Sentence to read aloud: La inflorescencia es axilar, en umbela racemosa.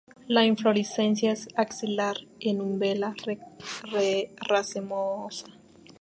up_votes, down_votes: 0, 2